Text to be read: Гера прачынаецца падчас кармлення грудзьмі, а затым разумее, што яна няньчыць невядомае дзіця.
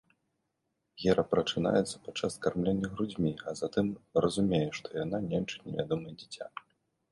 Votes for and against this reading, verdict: 2, 0, accepted